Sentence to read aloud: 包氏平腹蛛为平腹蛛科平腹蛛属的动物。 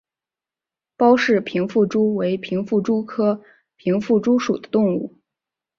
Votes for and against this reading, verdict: 2, 0, accepted